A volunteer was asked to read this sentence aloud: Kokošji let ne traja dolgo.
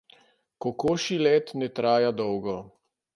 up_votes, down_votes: 2, 0